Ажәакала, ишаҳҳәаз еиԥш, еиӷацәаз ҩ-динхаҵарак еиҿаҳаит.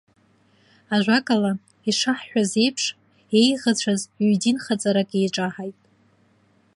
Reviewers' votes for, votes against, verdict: 3, 0, accepted